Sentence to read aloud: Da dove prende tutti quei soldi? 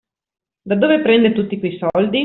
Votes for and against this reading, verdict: 2, 0, accepted